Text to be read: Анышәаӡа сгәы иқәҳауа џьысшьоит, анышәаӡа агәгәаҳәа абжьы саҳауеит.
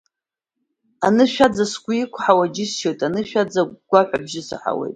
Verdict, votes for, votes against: accepted, 2, 0